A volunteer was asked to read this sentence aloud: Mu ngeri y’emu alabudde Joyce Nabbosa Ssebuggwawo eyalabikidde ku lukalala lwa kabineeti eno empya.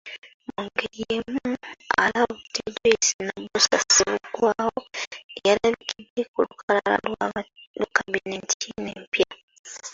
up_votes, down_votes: 0, 2